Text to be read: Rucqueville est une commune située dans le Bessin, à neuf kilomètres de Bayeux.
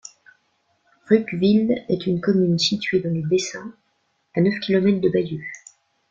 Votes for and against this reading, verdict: 0, 2, rejected